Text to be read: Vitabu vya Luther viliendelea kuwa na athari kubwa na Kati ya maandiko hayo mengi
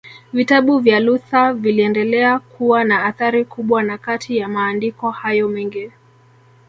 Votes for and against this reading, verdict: 1, 2, rejected